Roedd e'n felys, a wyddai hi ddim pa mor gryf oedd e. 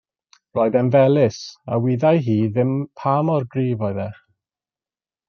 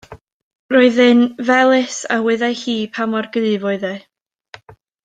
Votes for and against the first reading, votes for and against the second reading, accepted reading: 2, 0, 0, 2, first